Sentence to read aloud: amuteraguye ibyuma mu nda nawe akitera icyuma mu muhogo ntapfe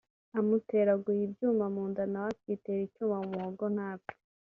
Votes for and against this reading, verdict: 2, 0, accepted